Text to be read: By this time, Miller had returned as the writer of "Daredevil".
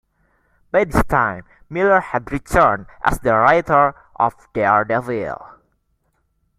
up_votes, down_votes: 2, 0